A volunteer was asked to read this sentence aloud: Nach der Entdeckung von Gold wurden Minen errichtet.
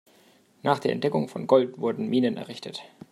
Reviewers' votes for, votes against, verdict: 2, 1, accepted